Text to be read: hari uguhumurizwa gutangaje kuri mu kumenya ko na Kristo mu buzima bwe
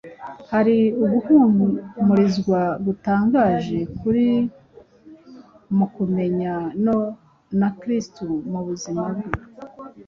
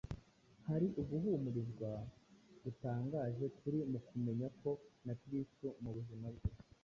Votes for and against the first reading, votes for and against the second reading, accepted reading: 1, 2, 2, 0, second